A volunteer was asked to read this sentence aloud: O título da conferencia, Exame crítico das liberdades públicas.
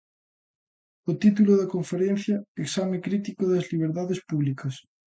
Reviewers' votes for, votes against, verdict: 2, 0, accepted